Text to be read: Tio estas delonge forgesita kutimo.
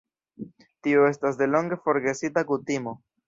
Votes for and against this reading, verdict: 1, 2, rejected